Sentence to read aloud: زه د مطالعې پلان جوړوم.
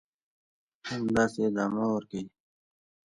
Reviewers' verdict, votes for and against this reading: rejected, 1, 2